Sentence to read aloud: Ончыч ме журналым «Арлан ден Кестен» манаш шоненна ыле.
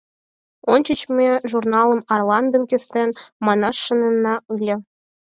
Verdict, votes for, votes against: accepted, 4, 0